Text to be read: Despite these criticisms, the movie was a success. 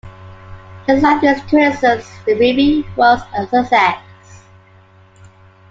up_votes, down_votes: 1, 2